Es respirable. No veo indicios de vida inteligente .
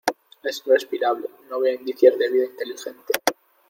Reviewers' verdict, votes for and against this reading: accepted, 2, 0